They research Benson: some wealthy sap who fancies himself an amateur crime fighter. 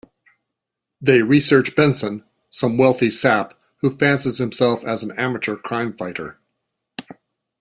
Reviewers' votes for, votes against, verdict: 2, 1, accepted